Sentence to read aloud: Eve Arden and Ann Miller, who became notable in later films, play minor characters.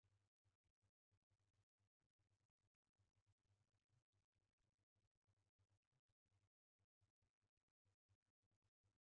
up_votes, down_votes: 0, 2